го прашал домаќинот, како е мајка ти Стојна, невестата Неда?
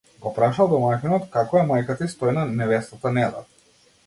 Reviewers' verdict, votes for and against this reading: rejected, 1, 2